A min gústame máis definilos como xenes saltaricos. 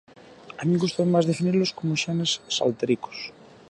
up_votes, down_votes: 2, 0